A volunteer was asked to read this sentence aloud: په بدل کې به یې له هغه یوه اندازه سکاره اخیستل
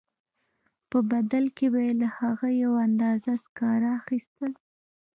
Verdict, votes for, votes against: accepted, 2, 0